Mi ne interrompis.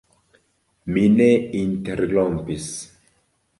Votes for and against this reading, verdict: 2, 1, accepted